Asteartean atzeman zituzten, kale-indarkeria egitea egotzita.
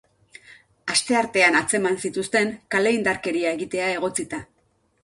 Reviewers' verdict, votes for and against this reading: accepted, 2, 0